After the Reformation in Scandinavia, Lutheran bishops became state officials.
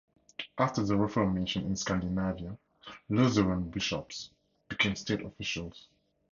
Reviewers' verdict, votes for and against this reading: accepted, 4, 0